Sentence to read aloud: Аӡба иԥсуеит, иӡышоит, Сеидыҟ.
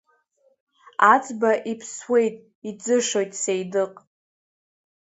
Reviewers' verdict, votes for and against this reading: rejected, 0, 2